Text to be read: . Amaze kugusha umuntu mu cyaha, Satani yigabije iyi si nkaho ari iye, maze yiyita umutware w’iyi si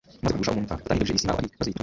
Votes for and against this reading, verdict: 0, 2, rejected